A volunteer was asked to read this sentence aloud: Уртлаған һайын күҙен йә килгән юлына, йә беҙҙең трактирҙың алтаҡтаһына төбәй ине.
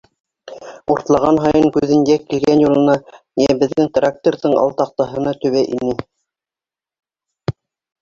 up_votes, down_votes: 0, 2